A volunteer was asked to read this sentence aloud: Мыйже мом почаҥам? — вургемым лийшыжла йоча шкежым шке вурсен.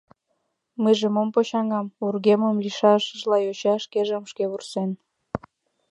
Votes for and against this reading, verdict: 1, 2, rejected